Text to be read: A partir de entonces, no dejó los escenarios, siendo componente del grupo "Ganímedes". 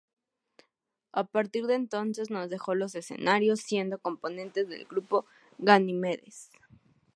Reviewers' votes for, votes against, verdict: 0, 4, rejected